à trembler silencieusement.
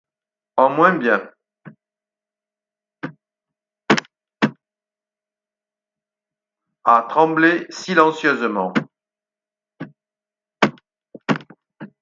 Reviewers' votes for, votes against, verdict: 0, 4, rejected